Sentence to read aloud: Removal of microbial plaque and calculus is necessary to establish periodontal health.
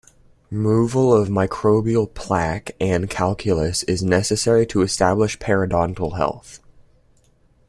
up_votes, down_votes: 2, 0